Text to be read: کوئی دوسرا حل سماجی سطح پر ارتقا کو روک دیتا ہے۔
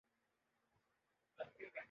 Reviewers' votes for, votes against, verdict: 0, 2, rejected